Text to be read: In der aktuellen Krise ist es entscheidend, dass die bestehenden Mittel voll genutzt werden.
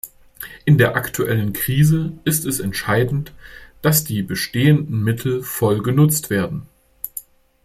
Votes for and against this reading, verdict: 2, 0, accepted